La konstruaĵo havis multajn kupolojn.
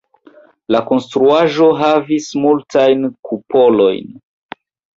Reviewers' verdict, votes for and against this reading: rejected, 1, 2